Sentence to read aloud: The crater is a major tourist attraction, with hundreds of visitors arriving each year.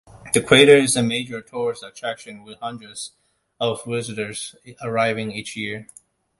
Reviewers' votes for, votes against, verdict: 2, 0, accepted